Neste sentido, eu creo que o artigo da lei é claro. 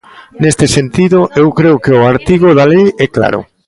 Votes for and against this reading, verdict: 2, 0, accepted